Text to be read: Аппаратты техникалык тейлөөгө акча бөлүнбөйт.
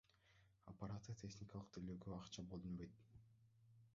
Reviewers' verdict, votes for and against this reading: rejected, 1, 2